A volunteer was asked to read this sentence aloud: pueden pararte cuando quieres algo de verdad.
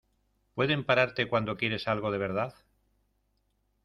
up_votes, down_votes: 0, 2